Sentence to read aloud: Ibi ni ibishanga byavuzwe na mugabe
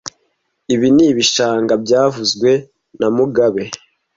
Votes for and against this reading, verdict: 2, 0, accepted